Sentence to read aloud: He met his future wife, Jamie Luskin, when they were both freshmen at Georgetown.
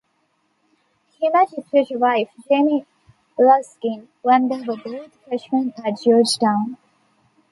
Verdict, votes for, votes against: rejected, 0, 2